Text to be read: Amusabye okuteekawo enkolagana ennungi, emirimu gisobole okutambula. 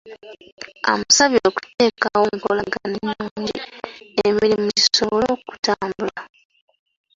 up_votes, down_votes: 1, 2